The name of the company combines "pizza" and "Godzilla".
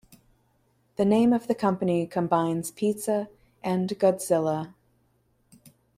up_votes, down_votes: 2, 0